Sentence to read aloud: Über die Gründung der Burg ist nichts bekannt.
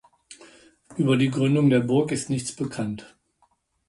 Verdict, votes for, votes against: accepted, 2, 0